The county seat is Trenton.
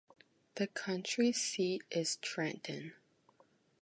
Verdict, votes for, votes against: rejected, 1, 2